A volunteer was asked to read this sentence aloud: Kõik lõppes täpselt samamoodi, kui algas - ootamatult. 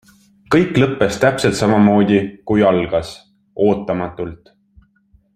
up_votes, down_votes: 2, 0